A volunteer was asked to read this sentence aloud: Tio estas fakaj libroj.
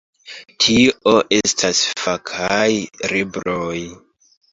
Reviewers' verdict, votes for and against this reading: accepted, 2, 1